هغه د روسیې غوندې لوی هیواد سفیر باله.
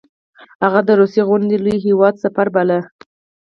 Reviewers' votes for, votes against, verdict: 4, 0, accepted